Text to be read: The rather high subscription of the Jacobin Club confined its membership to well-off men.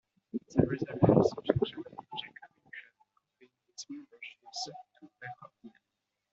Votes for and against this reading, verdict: 0, 2, rejected